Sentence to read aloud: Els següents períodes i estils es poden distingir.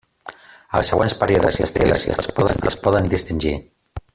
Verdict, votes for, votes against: rejected, 0, 2